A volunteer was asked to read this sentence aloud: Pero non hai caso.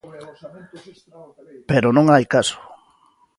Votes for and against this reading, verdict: 0, 2, rejected